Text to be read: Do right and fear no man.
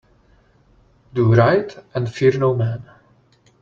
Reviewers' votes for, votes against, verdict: 2, 0, accepted